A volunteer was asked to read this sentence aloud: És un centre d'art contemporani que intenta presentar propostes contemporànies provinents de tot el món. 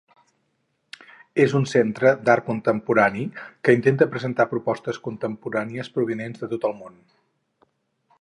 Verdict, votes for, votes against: accepted, 4, 0